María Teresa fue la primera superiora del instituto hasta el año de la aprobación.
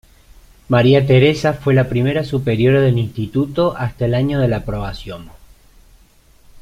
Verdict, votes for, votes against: accepted, 2, 0